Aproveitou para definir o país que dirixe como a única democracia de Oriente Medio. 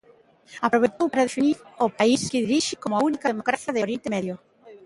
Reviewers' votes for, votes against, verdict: 0, 3, rejected